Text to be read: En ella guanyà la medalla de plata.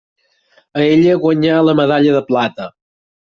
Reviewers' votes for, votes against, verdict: 0, 4, rejected